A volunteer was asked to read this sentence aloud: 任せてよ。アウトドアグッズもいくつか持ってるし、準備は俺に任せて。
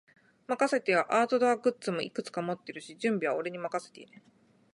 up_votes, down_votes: 6, 0